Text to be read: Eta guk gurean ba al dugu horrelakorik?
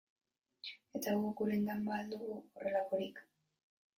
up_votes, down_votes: 0, 2